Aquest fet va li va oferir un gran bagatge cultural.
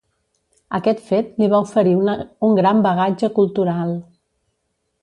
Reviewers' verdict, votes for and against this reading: rejected, 0, 2